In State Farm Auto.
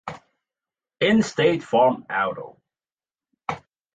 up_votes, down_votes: 2, 0